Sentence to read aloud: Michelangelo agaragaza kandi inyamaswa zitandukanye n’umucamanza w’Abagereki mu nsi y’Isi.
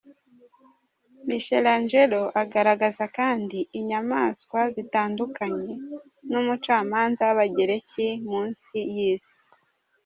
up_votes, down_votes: 3, 0